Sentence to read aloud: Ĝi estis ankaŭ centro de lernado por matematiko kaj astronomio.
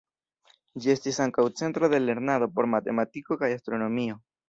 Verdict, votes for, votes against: accepted, 2, 1